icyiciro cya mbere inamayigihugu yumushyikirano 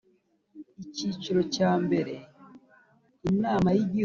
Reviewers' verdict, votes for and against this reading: rejected, 1, 2